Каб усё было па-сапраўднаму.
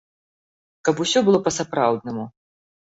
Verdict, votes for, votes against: accepted, 2, 0